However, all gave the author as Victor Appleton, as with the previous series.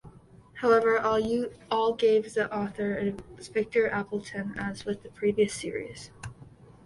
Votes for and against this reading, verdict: 0, 2, rejected